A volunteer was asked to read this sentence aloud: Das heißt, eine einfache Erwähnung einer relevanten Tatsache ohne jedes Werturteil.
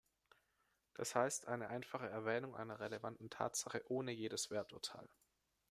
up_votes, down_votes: 2, 0